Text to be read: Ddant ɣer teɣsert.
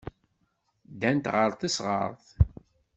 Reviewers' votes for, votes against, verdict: 1, 2, rejected